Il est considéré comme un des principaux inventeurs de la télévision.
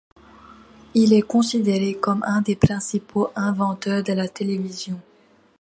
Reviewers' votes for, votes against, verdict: 2, 0, accepted